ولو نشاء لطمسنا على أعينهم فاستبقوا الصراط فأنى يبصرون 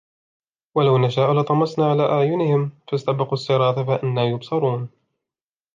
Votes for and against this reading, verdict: 2, 1, accepted